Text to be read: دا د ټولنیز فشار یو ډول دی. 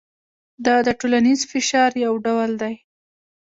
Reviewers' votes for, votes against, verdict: 1, 2, rejected